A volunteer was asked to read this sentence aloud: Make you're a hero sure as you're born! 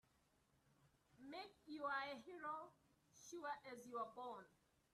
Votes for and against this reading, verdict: 1, 2, rejected